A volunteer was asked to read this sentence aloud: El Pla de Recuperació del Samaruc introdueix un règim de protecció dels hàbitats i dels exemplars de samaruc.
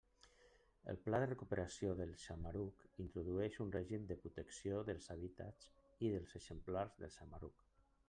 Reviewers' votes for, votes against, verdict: 0, 2, rejected